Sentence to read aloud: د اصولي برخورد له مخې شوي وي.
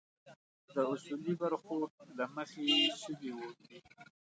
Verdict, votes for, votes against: rejected, 1, 2